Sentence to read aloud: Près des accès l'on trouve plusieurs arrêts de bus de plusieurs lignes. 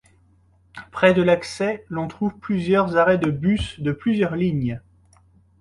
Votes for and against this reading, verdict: 0, 2, rejected